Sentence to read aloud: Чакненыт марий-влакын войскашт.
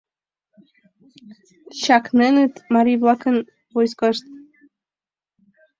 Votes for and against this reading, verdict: 2, 0, accepted